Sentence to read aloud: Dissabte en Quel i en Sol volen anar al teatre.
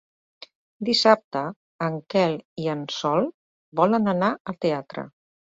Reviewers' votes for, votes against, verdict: 2, 0, accepted